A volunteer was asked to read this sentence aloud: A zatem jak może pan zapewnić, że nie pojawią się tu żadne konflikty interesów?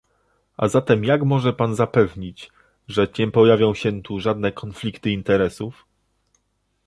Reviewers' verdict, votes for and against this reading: rejected, 1, 2